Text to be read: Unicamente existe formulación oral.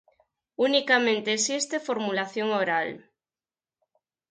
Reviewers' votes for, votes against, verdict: 4, 0, accepted